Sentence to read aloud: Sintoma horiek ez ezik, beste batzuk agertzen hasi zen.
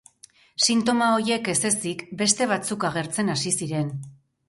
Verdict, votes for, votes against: rejected, 2, 2